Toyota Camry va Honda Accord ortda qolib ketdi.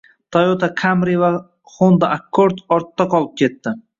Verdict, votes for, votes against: rejected, 1, 2